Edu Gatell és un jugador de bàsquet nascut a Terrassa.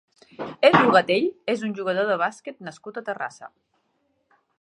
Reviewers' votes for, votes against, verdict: 3, 1, accepted